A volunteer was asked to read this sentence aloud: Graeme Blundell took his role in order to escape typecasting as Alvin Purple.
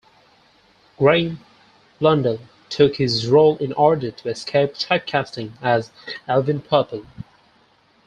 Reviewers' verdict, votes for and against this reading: rejected, 2, 4